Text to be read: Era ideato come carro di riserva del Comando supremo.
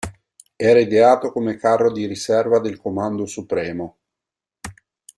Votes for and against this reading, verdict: 2, 0, accepted